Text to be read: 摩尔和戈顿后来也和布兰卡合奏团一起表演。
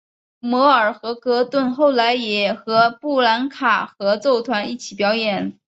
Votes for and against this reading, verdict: 4, 0, accepted